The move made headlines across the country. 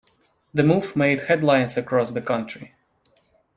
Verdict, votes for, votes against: accepted, 2, 1